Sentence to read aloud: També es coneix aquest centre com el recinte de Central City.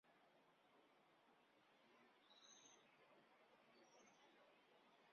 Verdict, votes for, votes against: rejected, 1, 2